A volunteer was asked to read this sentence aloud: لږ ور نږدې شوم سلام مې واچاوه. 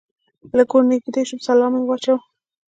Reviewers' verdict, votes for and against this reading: rejected, 1, 2